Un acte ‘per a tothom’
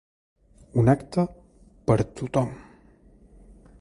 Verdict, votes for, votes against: rejected, 0, 2